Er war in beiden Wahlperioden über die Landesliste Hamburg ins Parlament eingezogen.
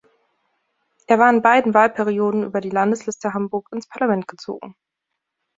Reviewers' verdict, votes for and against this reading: rejected, 0, 2